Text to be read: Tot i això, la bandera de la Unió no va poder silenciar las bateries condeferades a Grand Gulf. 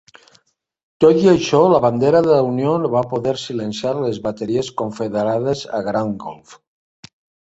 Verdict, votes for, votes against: accepted, 2, 0